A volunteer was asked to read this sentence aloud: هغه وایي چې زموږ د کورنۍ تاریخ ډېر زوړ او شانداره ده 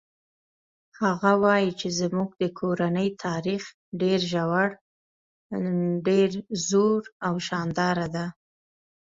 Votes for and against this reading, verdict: 0, 2, rejected